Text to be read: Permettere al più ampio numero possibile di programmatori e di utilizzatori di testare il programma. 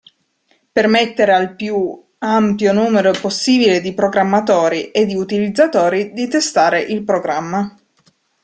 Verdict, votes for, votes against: accepted, 2, 0